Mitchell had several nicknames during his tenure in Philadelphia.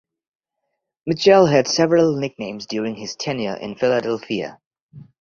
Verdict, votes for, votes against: accepted, 2, 0